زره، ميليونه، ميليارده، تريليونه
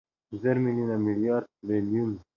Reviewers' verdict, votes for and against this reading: rejected, 1, 2